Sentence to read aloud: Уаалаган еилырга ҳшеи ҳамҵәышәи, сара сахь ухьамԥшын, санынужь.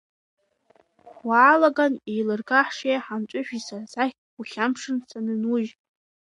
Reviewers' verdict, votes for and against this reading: accepted, 2, 0